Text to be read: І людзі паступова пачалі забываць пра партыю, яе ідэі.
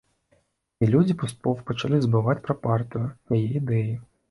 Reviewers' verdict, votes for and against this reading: accepted, 2, 1